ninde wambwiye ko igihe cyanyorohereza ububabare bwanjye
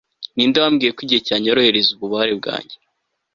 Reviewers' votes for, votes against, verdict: 3, 0, accepted